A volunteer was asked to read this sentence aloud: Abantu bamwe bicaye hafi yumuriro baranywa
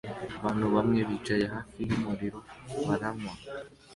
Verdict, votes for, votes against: accepted, 2, 0